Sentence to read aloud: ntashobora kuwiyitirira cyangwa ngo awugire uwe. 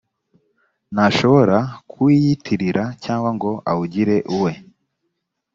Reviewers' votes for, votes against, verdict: 2, 0, accepted